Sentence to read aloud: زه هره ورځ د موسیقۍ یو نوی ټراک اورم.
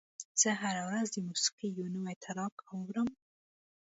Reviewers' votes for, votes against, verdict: 1, 2, rejected